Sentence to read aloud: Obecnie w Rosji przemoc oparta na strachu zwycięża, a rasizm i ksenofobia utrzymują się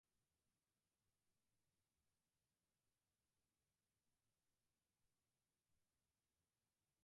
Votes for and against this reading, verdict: 0, 4, rejected